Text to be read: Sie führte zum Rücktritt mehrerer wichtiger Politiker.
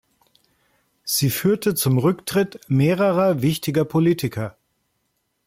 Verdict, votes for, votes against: accepted, 2, 0